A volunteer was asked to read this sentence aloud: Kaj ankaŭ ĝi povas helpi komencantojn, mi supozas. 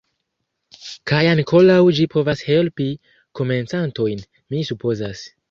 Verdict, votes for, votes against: rejected, 0, 2